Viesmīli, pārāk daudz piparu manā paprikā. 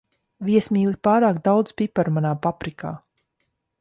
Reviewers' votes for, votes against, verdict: 2, 0, accepted